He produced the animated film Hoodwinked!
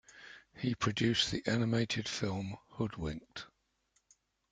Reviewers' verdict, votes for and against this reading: accepted, 2, 0